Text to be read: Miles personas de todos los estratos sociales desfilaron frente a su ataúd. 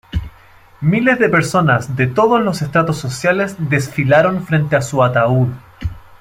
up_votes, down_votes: 1, 2